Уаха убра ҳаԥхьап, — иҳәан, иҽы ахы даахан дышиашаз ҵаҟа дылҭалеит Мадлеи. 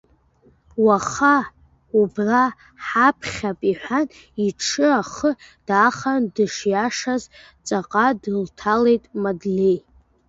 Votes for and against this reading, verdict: 0, 2, rejected